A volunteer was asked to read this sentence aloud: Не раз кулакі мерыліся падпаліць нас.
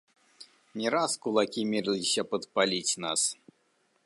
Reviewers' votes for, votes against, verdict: 2, 1, accepted